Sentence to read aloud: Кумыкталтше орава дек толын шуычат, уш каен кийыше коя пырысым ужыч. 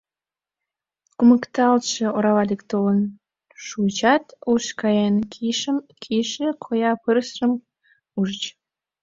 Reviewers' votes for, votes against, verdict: 0, 2, rejected